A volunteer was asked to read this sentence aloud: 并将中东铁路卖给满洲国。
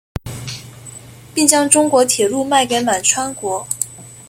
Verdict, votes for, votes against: rejected, 0, 2